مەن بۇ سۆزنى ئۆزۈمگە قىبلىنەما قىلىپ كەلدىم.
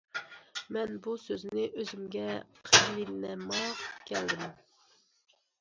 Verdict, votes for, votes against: rejected, 0, 2